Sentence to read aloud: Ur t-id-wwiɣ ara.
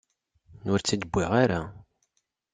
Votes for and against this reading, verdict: 0, 2, rejected